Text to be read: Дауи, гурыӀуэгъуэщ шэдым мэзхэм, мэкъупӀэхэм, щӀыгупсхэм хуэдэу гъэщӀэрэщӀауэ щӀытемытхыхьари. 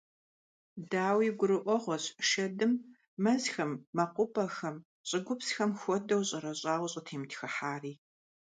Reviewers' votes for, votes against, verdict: 0, 2, rejected